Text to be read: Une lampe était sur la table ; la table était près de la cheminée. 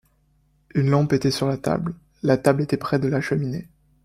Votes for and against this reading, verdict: 2, 0, accepted